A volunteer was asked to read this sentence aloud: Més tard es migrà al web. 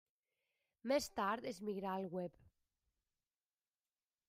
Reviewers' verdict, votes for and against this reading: accepted, 2, 1